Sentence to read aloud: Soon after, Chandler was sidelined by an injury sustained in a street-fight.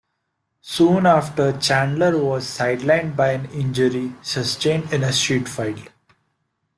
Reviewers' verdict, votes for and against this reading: accepted, 2, 0